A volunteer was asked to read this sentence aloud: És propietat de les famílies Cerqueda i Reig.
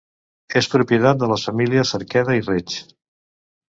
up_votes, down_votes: 1, 2